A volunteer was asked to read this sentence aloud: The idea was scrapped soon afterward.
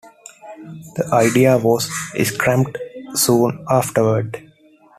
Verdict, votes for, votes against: rejected, 1, 2